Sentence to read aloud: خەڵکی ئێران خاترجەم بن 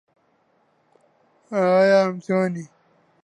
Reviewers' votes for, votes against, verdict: 0, 2, rejected